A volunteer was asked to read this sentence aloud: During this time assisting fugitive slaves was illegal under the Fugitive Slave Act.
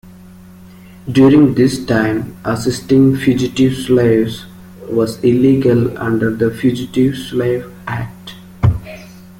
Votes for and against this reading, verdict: 2, 1, accepted